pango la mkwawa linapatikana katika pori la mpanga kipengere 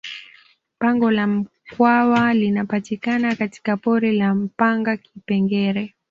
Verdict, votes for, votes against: accepted, 2, 0